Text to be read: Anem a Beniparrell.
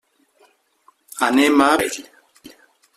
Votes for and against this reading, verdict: 0, 2, rejected